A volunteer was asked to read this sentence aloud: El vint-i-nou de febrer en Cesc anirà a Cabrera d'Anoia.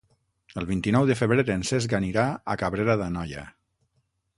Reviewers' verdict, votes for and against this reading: accepted, 6, 3